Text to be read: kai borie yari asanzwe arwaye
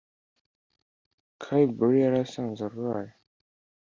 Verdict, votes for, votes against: accepted, 2, 0